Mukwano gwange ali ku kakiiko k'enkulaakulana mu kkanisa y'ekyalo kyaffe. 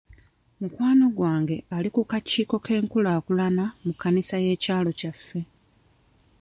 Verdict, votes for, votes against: rejected, 0, 2